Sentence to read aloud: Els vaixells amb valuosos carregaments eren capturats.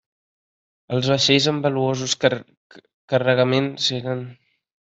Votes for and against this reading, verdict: 0, 2, rejected